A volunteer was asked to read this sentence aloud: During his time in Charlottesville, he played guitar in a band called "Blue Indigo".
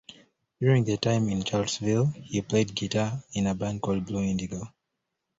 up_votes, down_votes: 0, 2